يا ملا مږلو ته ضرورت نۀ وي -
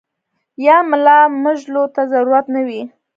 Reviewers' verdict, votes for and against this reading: rejected, 1, 2